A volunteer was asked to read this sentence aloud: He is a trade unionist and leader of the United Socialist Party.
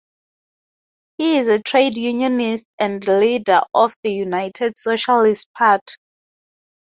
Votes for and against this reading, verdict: 2, 2, rejected